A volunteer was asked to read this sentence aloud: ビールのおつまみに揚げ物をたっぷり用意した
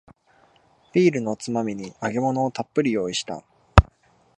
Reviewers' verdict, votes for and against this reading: accepted, 2, 0